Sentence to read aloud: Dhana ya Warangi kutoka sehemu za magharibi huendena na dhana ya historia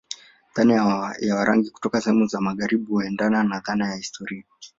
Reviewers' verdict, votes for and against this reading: rejected, 1, 2